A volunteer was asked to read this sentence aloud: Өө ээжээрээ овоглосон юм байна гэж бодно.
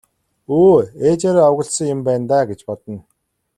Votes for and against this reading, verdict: 1, 2, rejected